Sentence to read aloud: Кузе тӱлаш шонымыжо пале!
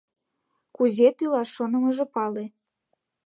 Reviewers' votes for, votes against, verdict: 2, 0, accepted